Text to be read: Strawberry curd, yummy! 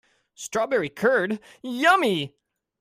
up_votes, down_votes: 2, 0